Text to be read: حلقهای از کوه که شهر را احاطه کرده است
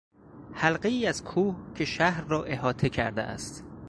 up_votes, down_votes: 4, 0